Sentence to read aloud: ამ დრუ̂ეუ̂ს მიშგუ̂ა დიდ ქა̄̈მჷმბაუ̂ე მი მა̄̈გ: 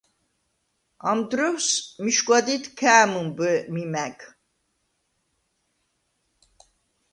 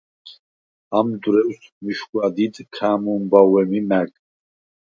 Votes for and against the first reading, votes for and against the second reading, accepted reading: 1, 2, 4, 0, second